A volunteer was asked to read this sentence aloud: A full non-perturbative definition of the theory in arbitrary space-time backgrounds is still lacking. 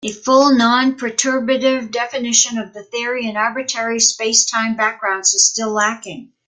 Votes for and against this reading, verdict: 2, 1, accepted